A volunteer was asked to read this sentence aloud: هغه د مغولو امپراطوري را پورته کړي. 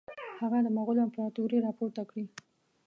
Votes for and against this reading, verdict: 2, 0, accepted